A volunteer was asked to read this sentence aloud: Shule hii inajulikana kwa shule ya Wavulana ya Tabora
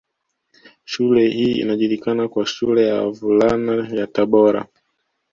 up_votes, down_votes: 2, 0